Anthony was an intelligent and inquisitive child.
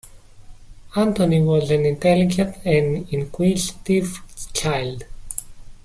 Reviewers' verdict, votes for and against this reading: accepted, 2, 1